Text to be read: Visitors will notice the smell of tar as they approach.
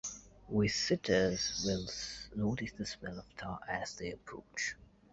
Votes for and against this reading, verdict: 0, 2, rejected